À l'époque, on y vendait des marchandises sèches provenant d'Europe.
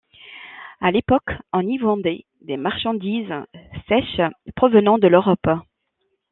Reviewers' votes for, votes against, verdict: 0, 2, rejected